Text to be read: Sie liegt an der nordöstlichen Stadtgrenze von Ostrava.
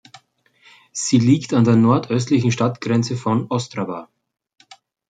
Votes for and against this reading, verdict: 2, 0, accepted